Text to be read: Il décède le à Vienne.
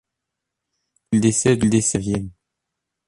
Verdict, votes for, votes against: rejected, 0, 2